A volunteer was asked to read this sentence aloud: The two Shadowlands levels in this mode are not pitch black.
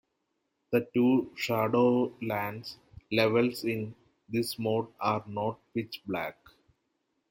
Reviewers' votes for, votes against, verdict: 2, 0, accepted